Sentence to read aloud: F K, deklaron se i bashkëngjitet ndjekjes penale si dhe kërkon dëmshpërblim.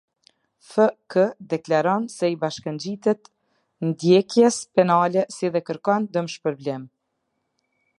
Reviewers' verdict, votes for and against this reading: accepted, 2, 0